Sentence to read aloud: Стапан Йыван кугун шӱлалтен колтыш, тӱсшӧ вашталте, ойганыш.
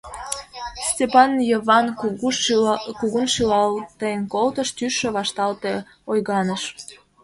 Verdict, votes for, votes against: accepted, 2, 0